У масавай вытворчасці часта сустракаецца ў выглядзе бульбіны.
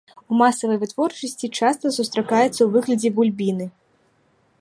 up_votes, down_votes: 1, 2